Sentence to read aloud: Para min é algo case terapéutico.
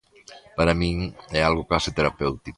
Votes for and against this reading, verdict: 2, 0, accepted